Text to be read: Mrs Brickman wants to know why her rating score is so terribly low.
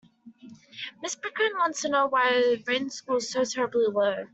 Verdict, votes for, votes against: rejected, 0, 2